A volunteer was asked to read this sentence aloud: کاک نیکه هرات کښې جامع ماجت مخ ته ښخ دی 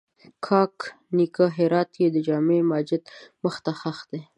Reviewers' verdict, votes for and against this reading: accepted, 2, 0